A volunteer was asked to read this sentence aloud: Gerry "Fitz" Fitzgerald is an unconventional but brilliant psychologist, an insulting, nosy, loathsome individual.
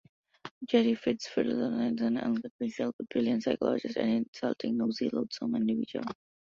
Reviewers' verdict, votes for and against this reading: rejected, 0, 2